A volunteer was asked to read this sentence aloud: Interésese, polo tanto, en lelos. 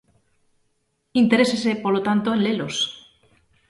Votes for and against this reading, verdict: 2, 0, accepted